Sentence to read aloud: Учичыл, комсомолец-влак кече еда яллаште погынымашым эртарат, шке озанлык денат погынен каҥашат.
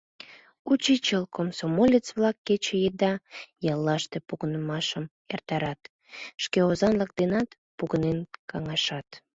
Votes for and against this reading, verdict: 3, 0, accepted